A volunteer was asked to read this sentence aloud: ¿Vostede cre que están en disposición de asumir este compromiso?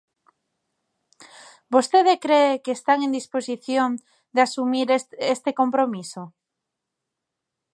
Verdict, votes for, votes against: rejected, 0, 2